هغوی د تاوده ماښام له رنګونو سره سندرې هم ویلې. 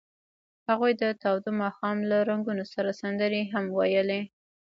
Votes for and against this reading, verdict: 1, 2, rejected